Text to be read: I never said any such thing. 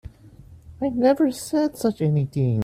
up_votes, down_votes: 1, 3